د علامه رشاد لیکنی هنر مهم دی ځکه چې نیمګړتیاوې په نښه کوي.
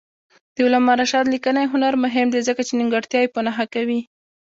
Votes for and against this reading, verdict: 1, 2, rejected